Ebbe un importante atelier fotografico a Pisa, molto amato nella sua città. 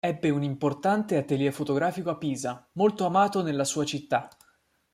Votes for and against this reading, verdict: 2, 0, accepted